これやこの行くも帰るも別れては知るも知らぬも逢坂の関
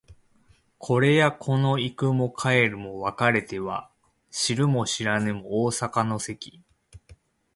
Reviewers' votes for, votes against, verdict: 2, 0, accepted